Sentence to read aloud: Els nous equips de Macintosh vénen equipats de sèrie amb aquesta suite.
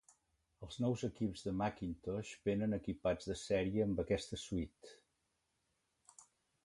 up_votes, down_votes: 2, 0